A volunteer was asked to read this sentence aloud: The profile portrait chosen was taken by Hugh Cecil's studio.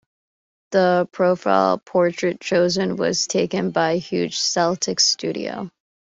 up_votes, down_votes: 2, 0